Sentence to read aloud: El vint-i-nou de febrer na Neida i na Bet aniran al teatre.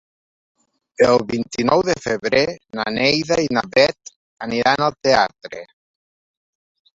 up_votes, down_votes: 1, 2